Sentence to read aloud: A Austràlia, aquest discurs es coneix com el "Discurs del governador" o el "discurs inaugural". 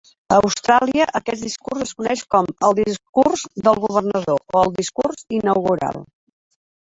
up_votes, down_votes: 4, 2